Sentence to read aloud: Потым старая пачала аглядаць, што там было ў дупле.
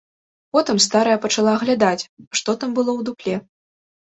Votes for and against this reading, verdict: 2, 1, accepted